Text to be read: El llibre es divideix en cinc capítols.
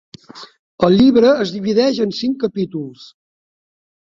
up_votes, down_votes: 3, 0